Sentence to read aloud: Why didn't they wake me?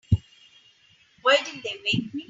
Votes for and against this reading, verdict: 1, 2, rejected